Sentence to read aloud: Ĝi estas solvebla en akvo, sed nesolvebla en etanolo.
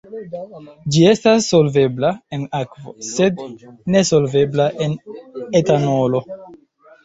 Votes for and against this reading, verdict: 2, 0, accepted